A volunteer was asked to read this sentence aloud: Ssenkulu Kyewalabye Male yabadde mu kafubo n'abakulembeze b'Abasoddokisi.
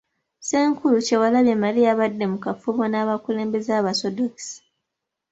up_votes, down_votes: 2, 0